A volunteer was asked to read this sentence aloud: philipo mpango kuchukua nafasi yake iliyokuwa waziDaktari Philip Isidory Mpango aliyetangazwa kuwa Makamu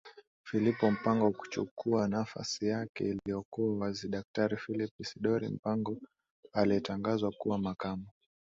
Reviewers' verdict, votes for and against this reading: accepted, 2, 0